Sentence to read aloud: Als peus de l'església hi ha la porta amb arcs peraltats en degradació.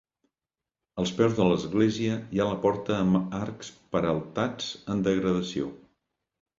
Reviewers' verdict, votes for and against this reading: rejected, 0, 2